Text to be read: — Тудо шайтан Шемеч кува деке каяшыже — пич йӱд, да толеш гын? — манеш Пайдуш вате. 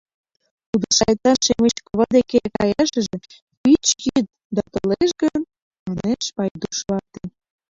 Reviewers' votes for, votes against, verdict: 2, 1, accepted